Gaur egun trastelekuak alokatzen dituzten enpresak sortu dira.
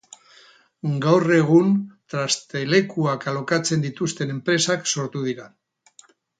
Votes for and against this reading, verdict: 2, 2, rejected